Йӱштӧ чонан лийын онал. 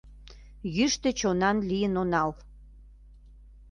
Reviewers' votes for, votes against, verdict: 2, 0, accepted